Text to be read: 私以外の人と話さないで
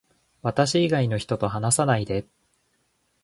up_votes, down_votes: 0, 2